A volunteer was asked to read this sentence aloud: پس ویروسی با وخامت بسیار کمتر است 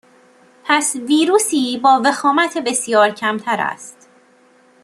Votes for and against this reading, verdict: 2, 0, accepted